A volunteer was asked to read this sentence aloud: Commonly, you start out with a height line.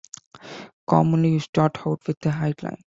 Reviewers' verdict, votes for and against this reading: accepted, 2, 1